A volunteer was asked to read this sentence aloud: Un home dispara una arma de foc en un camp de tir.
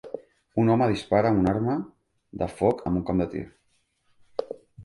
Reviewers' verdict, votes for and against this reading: accepted, 2, 0